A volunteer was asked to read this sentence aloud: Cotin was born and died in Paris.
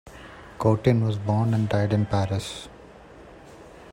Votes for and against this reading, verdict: 2, 0, accepted